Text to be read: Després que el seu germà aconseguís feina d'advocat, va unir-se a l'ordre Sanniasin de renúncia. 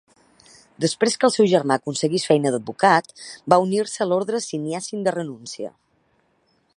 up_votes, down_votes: 1, 2